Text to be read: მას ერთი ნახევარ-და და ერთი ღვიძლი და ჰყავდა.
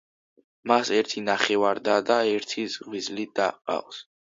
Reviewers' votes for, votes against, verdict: 0, 2, rejected